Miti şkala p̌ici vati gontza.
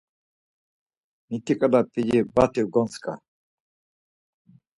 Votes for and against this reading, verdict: 2, 4, rejected